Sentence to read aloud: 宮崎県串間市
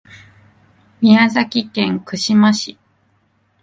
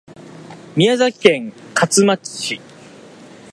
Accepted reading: first